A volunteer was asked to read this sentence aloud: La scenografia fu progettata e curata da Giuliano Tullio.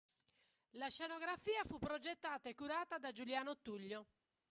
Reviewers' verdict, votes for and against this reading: accepted, 2, 0